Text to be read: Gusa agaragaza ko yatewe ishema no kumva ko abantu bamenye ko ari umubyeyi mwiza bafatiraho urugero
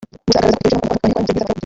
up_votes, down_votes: 0, 3